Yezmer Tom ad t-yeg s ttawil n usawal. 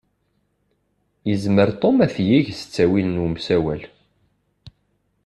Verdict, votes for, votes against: rejected, 0, 2